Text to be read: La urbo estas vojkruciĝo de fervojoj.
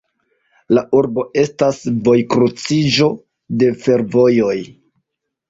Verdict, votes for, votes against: rejected, 0, 2